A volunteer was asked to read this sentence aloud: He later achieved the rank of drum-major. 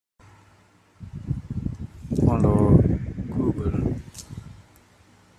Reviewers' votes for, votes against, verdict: 0, 2, rejected